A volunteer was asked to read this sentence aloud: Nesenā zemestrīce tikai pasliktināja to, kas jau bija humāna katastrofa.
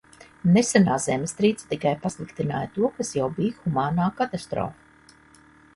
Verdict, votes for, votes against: rejected, 0, 2